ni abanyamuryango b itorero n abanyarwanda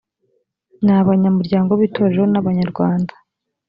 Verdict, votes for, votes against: accepted, 2, 0